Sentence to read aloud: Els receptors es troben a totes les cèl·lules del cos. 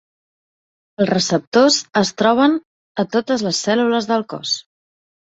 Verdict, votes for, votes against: accepted, 4, 0